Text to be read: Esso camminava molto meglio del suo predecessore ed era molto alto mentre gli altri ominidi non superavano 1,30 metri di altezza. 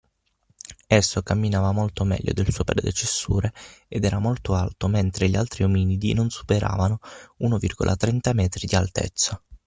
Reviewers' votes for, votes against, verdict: 0, 2, rejected